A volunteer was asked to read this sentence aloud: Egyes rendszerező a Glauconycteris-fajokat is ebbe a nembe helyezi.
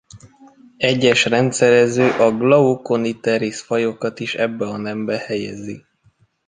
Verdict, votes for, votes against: rejected, 1, 2